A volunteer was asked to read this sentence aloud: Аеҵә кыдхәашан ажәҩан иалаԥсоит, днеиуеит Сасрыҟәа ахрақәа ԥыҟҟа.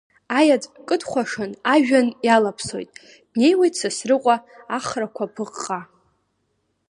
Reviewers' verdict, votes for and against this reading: accepted, 2, 0